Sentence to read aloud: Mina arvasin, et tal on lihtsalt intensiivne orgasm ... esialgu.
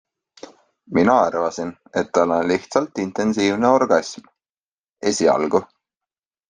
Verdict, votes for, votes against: accepted, 2, 0